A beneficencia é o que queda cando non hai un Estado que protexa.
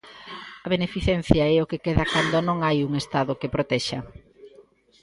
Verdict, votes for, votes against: accepted, 2, 1